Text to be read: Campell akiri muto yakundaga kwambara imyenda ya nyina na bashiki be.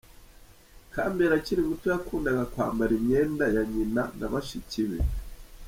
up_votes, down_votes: 1, 2